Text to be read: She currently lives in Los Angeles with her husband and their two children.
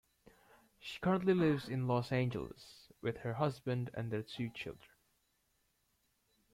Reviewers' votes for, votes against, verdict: 2, 0, accepted